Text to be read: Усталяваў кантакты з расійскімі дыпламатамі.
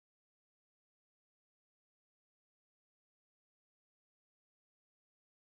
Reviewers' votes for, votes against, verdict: 0, 2, rejected